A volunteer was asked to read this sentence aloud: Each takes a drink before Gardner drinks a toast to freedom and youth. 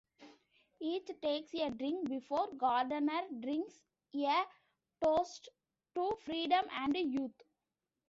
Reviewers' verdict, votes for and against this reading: rejected, 0, 2